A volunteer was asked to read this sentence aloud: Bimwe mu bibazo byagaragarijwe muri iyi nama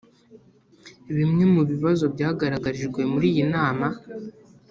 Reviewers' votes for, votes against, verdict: 2, 0, accepted